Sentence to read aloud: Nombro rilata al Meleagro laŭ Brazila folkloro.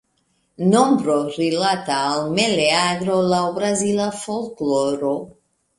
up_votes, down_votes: 2, 3